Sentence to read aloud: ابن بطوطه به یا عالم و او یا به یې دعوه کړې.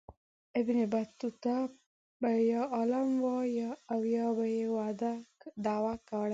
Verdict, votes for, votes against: rejected, 1, 2